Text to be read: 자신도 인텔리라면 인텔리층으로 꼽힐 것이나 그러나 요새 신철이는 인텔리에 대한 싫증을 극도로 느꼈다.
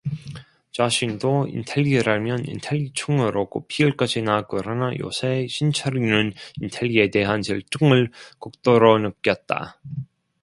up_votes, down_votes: 0, 2